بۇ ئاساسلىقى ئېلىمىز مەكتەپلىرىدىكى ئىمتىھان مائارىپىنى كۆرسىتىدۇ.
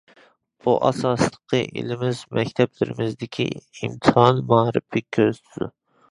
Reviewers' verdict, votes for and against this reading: rejected, 0, 2